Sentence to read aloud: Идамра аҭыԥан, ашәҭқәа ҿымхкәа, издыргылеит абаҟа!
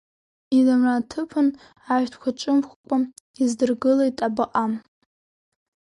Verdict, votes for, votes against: rejected, 2, 3